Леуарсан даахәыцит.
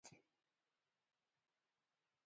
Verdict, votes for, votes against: rejected, 0, 2